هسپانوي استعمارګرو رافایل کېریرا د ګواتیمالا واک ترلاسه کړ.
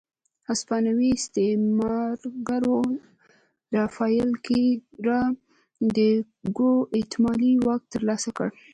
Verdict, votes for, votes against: rejected, 1, 2